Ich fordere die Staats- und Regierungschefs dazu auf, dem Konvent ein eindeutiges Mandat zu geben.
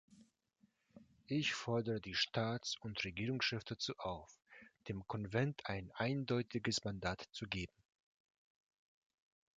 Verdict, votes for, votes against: rejected, 1, 2